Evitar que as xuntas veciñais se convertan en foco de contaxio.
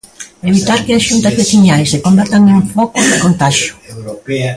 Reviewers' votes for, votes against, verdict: 0, 2, rejected